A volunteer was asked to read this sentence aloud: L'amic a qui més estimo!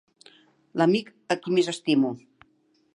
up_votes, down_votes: 3, 0